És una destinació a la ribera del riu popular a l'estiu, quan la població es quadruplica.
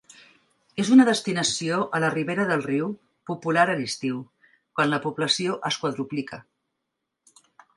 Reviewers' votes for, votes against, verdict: 3, 0, accepted